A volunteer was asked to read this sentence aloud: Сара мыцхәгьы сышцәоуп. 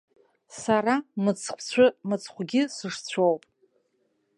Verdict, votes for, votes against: rejected, 1, 2